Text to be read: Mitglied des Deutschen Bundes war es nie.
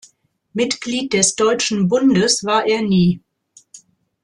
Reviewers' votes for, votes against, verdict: 0, 2, rejected